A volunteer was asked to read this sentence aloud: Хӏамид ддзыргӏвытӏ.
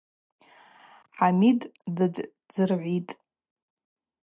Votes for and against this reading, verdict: 2, 2, rejected